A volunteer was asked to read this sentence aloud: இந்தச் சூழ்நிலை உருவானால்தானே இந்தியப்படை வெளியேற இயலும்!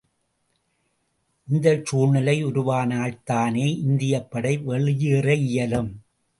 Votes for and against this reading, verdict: 2, 0, accepted